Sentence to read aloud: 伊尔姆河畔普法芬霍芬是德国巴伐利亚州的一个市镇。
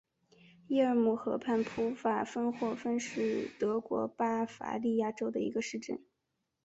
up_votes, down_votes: 4, 0